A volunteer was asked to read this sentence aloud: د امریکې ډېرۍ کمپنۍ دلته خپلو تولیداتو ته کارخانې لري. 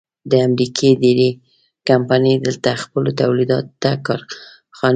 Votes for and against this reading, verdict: 0, 2, rejected